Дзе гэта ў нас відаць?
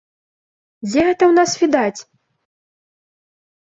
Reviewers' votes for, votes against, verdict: 2, 0, accepted